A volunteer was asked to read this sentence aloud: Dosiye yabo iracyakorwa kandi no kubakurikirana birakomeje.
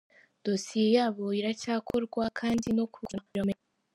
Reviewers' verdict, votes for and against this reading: rejected, 0, 3